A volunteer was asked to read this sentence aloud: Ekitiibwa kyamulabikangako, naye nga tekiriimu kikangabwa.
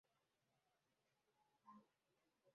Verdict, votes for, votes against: rejected, 0, 2